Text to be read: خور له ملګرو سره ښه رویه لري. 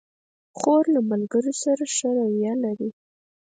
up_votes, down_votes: 2, 4